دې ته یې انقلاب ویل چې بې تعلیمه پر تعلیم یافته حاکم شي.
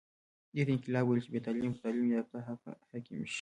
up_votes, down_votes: 2, 0